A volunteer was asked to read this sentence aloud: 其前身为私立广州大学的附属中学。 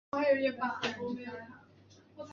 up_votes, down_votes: 1, 3